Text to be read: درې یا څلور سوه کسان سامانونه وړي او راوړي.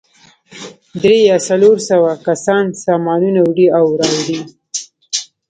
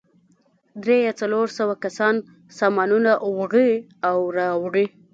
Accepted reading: first